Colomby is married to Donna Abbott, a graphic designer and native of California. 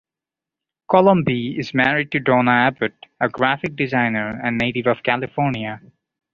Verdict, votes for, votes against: accepted, 2, 0